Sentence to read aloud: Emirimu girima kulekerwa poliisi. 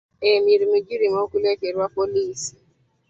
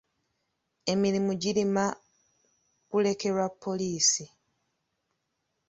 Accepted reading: first